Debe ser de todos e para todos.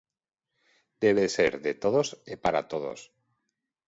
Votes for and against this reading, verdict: 2, 1, accepted